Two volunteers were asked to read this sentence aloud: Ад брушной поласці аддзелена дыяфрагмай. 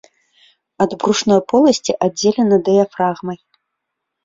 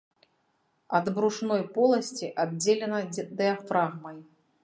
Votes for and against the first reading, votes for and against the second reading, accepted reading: 2, 0, 0, 2, first